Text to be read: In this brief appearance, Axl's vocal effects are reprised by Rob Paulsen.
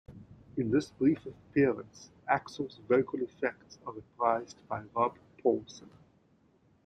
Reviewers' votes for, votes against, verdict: 0, 2, rejected